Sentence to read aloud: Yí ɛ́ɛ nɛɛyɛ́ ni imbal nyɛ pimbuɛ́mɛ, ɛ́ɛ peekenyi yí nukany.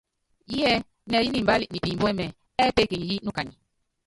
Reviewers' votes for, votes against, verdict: 1, 2, rejected